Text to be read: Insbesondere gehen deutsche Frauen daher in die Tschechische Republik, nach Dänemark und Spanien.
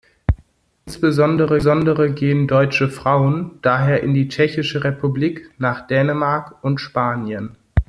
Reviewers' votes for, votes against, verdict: 0, 2, rejected